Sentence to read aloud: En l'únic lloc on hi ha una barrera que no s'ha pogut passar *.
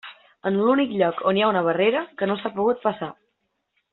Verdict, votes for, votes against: accepted, 3, 0